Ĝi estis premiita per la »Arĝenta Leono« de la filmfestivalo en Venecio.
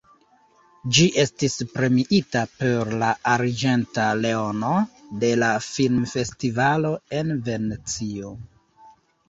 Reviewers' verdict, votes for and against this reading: accepted, 3, 2